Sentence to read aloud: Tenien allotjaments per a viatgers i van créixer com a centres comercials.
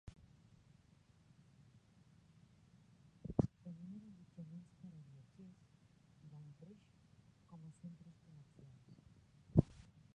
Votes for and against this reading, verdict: 0, 2, rejected